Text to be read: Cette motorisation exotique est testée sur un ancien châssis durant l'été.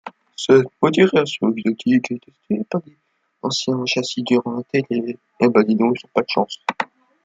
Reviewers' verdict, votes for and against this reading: rejected, 0, 2